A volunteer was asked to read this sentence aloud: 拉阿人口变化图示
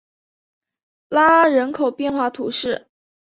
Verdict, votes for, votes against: accepted, 4, 0